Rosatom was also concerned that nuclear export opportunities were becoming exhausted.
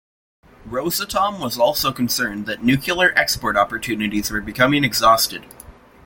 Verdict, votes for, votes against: accepted, 2, 0